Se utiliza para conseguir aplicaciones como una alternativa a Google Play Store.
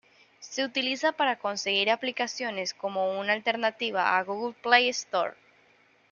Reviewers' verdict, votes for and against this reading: accepted, 2, 0